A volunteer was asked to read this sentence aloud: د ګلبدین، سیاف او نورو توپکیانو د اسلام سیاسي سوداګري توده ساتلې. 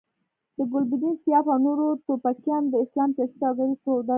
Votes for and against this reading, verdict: 1, 2, rejected